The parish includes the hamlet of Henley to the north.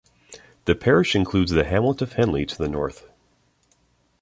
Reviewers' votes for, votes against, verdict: 2, 0, accepted